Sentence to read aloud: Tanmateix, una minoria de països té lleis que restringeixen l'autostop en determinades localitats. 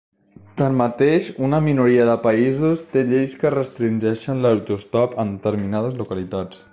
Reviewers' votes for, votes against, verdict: 3, 0, accepted